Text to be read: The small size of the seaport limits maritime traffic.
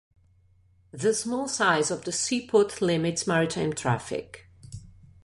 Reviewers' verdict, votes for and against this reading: accepted, 2, 0